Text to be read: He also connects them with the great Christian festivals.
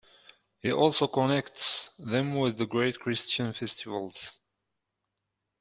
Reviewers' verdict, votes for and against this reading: accepted, 2, 1